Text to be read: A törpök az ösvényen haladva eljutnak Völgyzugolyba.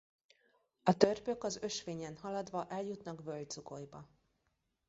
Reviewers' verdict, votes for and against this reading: rejected, 0, 2